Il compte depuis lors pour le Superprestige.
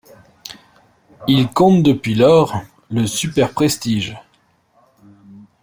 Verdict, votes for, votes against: rejected, 1, 2